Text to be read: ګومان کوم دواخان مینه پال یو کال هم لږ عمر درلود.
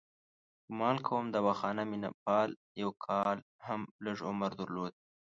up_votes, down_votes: 1, 2